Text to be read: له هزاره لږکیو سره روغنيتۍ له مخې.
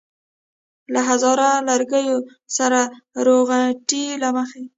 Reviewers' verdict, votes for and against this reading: rejected, 1, 2